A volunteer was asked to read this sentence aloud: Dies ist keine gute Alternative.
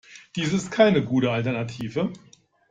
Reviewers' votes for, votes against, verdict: 2, 0, accepted